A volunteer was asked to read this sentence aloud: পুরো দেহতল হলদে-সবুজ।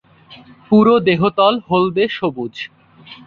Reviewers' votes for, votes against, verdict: 6, 0, accepted